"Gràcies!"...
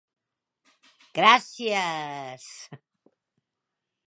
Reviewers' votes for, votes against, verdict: 1, 2, rejected